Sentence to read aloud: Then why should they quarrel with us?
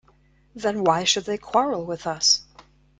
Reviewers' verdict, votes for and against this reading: accepted, 2, 0